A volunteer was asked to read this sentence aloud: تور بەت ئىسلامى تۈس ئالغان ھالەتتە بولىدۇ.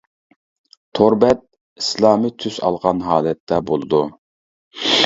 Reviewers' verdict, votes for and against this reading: rejected, 0, 2